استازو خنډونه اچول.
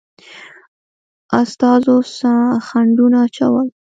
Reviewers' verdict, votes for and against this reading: accepted, 2, 0